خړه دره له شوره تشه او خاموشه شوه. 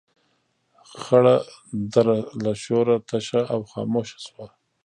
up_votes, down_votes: 0, 2